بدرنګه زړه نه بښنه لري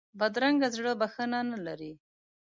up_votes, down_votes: 1, 2